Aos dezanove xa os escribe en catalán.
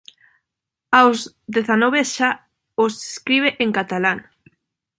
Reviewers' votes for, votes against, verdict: 0, 2, rejected